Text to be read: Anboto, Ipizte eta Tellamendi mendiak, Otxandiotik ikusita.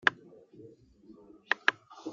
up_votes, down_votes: 0, 2